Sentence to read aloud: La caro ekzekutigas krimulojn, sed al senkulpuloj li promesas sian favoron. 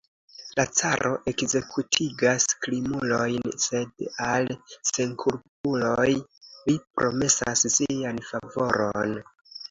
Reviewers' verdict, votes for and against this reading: accepted, 2, 0